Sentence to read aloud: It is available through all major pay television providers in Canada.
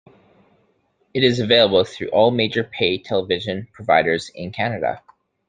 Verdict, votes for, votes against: accepted, 2, 0